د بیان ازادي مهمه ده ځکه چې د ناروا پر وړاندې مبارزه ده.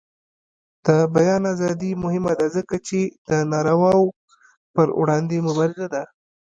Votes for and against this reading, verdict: 1, 2, rejected